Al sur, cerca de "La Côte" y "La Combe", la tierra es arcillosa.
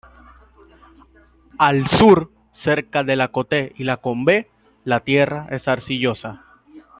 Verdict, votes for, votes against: rejected, 0, 2